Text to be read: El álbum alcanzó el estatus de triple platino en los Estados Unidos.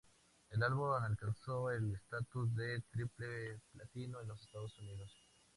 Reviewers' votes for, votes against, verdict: 0, 2, rejected